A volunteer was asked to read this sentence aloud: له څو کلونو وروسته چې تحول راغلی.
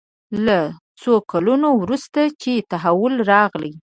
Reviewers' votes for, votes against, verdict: 2, 1, accepted